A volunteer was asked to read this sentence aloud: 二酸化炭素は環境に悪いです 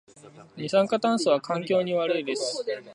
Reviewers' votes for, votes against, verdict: 4, 0, accepted